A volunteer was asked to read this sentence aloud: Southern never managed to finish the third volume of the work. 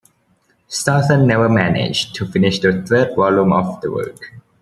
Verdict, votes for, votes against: rejected, 1, 2